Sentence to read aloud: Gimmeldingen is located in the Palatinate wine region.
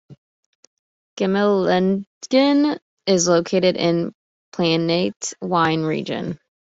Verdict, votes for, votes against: rejected, 0, 2